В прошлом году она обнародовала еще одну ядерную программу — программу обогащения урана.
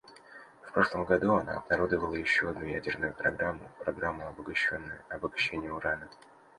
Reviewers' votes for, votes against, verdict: 0, 2, rejected